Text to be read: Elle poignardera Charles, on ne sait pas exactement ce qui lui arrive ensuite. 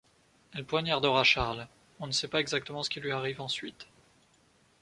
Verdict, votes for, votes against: accepted, 2, 0